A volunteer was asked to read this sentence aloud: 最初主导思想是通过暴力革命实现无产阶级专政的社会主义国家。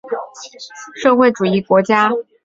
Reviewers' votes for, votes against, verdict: 1, 2, rejected